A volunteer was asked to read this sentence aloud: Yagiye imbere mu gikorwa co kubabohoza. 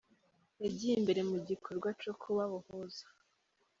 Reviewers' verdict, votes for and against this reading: rejected, 1, 2